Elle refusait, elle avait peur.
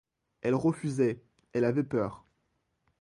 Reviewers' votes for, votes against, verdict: 2, 0, accepted